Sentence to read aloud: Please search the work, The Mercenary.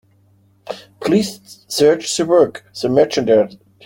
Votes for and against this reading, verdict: 0, 2, rejected